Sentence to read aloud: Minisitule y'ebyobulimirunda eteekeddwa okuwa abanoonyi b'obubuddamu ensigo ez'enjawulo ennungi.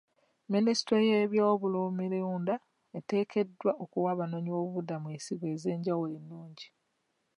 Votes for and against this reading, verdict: 2, 0, accepted